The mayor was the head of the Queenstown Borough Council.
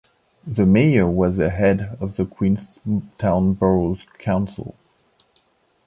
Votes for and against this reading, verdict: 2, 0, accepted